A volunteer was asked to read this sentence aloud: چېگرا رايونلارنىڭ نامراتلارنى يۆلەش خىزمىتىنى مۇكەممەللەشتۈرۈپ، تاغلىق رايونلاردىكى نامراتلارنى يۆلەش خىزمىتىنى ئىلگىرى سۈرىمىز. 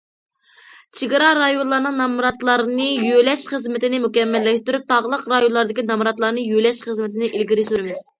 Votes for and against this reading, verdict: 2, 0, accepted